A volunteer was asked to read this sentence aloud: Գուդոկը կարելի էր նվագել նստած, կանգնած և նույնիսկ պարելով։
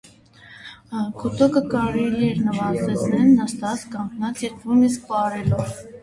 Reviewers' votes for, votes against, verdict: 0, 2, rejected